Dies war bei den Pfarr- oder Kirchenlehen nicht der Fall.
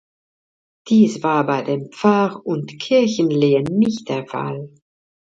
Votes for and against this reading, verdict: 1, 2, rejected